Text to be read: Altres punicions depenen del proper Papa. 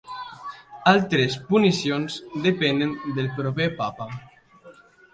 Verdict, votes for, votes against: accepted, 2, 1